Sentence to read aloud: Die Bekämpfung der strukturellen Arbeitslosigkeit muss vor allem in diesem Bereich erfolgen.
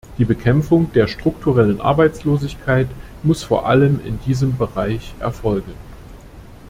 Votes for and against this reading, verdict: 2, 0, accepted